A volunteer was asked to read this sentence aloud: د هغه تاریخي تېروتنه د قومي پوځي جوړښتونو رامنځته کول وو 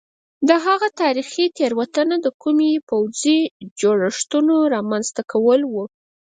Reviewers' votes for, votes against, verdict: 2, 4, rejected